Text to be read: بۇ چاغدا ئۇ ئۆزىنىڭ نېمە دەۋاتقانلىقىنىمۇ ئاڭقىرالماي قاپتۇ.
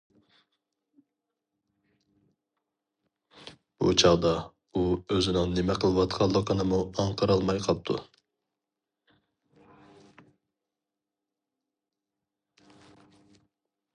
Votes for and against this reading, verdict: 2, 2, rejected